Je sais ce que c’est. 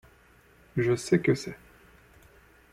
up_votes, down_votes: 1, 2